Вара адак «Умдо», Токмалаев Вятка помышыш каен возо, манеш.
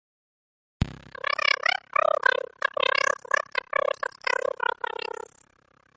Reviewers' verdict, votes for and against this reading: rejected, 0, 2